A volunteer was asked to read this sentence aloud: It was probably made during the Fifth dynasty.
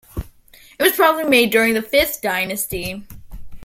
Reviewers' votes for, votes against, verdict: 2, 1, accepted